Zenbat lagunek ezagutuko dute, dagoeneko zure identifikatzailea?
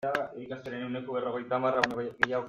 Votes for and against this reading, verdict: 0, 2, rejected